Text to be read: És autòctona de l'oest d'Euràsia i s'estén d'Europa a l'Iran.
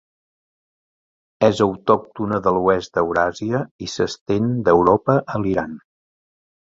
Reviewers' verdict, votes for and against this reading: accepted, 2, 0